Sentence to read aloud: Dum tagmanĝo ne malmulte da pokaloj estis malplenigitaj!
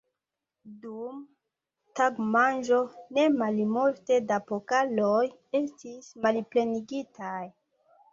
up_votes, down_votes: 2, 0